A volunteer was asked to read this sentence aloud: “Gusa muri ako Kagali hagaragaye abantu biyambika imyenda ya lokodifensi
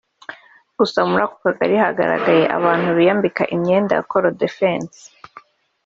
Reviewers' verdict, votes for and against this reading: rejected, 0, 2